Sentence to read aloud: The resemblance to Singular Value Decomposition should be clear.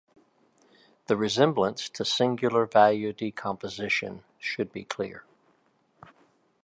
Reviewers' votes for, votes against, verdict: 2, 0, accepted